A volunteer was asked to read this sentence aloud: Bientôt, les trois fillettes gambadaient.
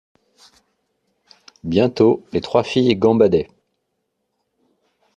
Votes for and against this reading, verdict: 0, 2, rejected